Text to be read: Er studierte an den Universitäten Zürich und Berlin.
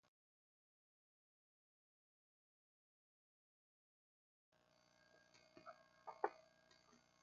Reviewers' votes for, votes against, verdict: 0, 2, rejected